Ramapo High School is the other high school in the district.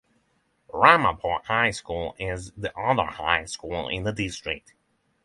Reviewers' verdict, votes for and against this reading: accepted, 6, 0